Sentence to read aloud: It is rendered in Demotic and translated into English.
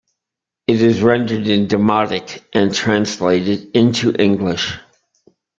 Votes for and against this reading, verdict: 1, 2, rejected